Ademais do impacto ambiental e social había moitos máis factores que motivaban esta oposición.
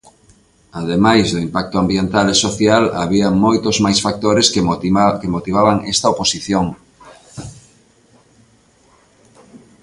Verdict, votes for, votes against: rejected, 0, 2